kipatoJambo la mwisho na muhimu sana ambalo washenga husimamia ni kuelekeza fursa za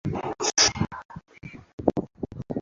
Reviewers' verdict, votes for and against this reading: rejected, 0, 2